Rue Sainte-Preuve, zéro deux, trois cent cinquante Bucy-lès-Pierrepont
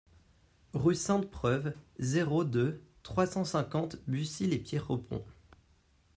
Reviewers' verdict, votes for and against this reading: rejected, 1, 2